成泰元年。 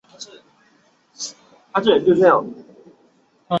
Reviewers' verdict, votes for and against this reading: rejected, 0, 3